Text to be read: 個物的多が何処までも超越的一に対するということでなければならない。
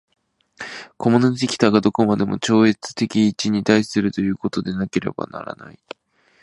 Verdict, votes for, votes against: accepted, 3, 1